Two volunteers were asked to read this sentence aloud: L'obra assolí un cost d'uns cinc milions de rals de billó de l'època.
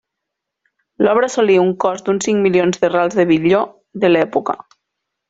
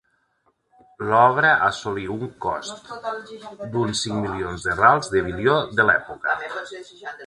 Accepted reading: first